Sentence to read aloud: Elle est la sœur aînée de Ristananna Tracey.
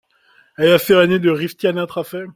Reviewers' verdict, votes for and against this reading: rejected, 1, 2